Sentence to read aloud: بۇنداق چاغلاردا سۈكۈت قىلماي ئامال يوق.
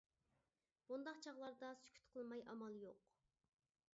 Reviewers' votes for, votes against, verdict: 2, 0, accepted